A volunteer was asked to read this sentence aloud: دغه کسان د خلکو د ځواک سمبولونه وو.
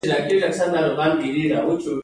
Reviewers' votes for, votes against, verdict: 2, 0, accepted